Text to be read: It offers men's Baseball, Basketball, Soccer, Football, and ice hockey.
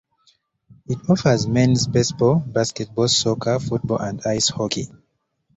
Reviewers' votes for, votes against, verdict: 2, 1, accepted